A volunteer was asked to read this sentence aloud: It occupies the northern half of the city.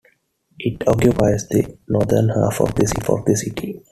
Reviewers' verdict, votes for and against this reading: rejected, 0, 2